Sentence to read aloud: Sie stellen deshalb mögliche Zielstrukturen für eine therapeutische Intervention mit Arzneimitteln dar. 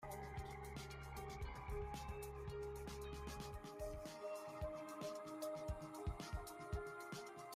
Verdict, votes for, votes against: rejected, 0, 2